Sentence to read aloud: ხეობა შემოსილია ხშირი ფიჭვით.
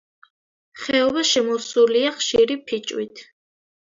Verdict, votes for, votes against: accepted, 2, 0